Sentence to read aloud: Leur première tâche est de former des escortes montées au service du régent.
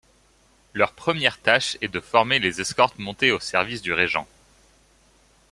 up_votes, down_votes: 1, 2